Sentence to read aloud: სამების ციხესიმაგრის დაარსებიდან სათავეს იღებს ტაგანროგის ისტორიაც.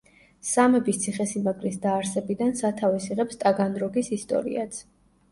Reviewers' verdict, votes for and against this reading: accepted, 2, 0